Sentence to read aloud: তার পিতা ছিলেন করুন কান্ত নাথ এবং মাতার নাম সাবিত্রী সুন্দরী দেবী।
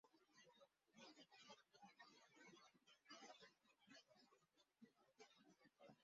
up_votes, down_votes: 0, 3